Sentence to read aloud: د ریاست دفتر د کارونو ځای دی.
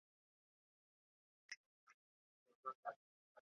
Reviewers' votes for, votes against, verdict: 0, 2, rejected